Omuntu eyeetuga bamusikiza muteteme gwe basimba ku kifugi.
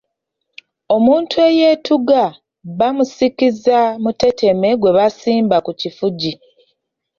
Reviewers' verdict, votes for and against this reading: accepted, 3, 0